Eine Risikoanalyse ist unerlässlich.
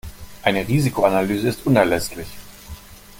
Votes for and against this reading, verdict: 2, 0, accepted